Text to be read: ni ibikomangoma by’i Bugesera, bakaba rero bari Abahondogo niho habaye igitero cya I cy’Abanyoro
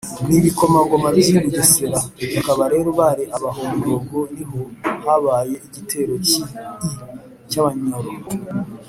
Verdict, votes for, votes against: rejected, 0, 2